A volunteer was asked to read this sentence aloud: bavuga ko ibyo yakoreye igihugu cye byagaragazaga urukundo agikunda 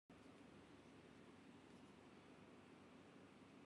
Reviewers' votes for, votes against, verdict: 1, 2, rejected